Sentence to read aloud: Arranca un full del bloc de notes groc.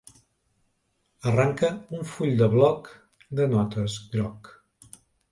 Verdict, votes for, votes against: rejected, 1, 2